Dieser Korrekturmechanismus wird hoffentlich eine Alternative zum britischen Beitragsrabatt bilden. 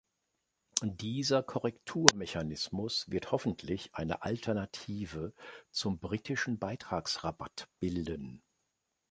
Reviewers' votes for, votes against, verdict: 2, 0, accepted